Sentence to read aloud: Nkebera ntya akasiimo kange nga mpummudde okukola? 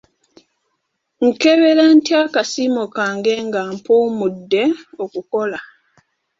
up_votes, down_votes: 2, 0